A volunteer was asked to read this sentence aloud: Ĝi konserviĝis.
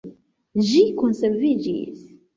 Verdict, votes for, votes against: accepted, 2, 1